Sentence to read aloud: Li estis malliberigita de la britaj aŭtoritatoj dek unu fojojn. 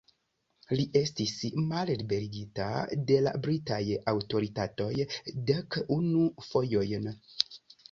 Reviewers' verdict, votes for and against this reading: accepted, 2, 0